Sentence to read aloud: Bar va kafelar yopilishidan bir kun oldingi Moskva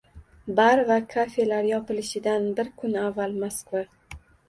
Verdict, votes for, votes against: rejected, 0, 2